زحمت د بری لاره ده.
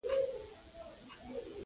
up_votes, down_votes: 0, 2